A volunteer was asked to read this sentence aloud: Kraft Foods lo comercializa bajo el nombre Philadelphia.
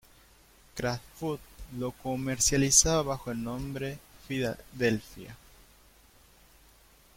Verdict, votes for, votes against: rejected, 1, 2